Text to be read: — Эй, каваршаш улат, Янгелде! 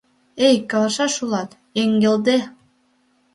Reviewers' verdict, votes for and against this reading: rejected, 0, 2